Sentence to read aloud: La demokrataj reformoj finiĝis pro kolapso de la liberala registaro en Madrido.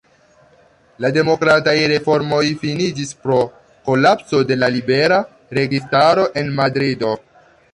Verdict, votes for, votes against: rejected, 1, 2